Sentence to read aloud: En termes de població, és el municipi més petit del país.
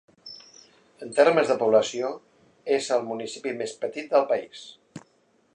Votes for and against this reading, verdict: 2, 0, accepted